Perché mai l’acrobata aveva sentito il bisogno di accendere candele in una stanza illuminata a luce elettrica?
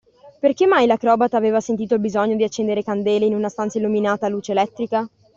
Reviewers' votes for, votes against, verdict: 2, 0, accepted